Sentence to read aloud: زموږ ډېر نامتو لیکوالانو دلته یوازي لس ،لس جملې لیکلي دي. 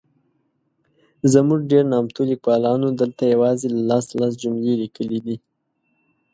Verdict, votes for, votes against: accepted, 2, 0